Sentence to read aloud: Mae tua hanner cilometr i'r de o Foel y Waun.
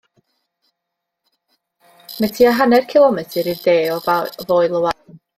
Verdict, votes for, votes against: rejected, 1, 2